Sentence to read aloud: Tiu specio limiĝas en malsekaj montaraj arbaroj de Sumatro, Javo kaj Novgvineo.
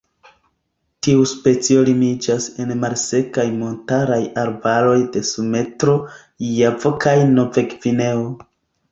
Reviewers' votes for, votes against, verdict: 0, 2, rejected